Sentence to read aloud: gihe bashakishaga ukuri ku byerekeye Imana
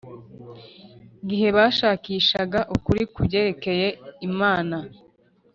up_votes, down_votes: 3, 0